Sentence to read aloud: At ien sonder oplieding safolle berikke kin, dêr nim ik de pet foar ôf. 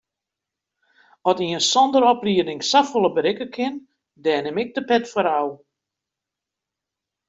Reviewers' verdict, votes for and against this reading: rejected, 1, 2